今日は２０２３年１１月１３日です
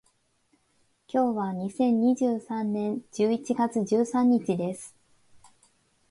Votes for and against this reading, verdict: 0, 2, rejected